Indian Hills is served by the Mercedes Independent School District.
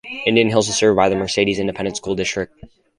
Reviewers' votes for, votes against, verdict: 2, 2, rejected